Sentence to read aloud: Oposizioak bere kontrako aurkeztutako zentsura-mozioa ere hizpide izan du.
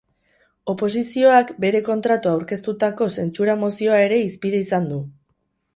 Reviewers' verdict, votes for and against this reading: rejected, 2, 2